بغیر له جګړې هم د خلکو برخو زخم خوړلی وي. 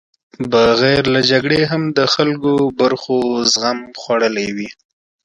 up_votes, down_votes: 2, 3